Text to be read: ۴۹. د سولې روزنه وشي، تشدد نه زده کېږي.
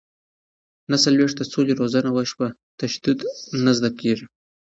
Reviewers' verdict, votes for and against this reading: rejected, 0, 2